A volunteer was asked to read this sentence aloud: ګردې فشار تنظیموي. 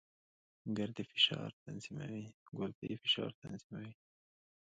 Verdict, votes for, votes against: rejected, 0, 2